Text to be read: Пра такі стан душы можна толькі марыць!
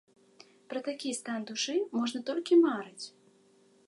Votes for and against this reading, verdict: 2, 0, accepted